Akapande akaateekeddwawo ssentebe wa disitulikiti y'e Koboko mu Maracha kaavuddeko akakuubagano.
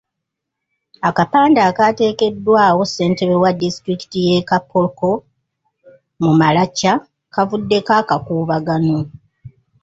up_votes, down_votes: 0, 2